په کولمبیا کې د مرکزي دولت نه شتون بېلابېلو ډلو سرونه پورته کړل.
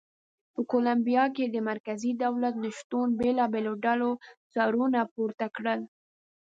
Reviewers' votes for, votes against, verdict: 2, 0, accepted